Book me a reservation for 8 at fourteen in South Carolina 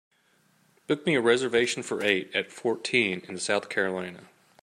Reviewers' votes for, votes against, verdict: 0, 2, rejected